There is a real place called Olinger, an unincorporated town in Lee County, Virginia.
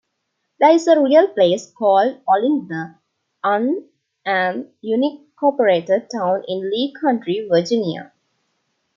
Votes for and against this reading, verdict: 1, 2, rejected